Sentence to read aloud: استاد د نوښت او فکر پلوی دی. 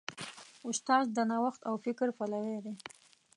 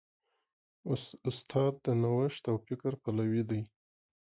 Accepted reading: second